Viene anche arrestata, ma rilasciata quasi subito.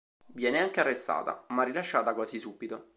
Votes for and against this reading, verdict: 2, 0, accepted